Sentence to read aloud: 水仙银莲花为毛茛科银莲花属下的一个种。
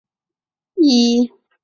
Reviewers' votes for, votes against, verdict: 0, 3, rejected